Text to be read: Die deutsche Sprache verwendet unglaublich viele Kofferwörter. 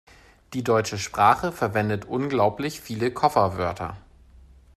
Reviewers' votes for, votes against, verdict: 3, 0, accepted